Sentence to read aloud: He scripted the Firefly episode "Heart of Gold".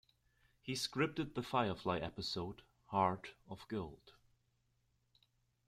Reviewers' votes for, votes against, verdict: 2, 0, accepted